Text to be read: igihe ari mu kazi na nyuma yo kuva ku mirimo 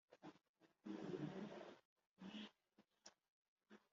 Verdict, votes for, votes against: rejected, 0, 2